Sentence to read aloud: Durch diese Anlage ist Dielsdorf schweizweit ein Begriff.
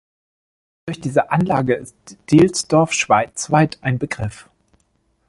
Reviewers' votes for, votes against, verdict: 1, 2, rejected